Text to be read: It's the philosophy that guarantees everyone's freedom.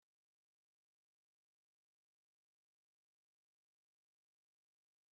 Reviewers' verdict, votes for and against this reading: rejected, 0, 2